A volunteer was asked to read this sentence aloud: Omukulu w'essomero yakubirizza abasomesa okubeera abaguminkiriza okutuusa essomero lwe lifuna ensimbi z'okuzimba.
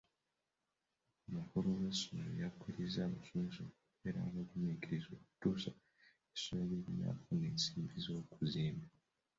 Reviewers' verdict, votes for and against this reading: rejected, 0, 2